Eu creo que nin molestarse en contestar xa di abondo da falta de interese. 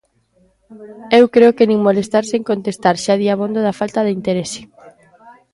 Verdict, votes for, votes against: accepted, 2, 0